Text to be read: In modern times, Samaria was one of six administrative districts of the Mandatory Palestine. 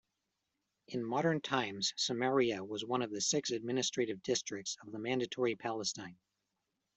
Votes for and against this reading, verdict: 1, 2, rejected